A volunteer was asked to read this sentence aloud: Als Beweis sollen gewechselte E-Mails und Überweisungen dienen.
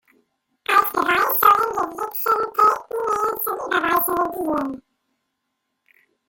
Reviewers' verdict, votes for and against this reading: rejected, 0, 2